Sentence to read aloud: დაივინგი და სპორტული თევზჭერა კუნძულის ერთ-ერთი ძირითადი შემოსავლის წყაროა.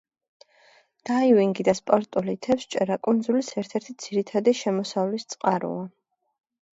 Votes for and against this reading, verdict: 2, 0, accepted